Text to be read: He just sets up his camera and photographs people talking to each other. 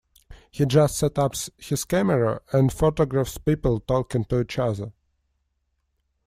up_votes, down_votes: 0, 2